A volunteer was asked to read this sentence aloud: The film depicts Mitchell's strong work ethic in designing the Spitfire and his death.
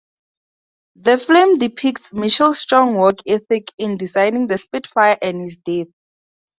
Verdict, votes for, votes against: rejected, 0, 2